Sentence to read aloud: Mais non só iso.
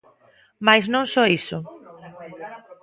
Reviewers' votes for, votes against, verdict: 1, 2, rejected